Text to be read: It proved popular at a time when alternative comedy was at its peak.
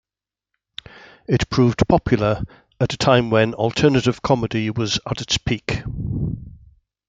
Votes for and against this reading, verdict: 2, 0, accepted